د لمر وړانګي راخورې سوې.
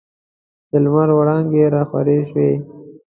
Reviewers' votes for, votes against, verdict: 2, 0, accepted